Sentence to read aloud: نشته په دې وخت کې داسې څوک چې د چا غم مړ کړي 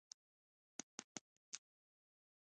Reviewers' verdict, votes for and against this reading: rejected, 1, 2